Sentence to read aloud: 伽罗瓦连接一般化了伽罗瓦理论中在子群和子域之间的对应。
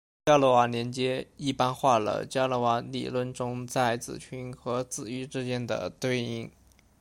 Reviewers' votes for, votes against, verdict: 2, 1, accepted